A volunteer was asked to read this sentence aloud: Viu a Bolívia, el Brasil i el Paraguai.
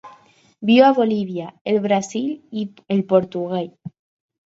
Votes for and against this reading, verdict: 2, 4, rejected